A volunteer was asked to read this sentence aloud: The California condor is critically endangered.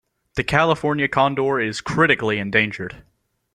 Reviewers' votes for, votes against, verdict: 2, 0, accepted